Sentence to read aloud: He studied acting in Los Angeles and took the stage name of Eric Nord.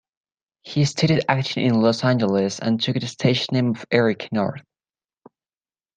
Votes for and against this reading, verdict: 2, 0, accepted